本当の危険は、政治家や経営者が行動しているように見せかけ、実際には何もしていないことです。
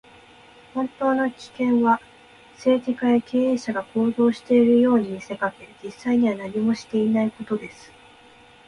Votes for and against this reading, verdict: 2, 0, accepted